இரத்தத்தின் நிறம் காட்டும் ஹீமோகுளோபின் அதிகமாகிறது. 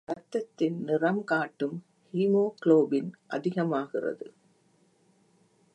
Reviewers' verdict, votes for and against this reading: accepted, 2, 0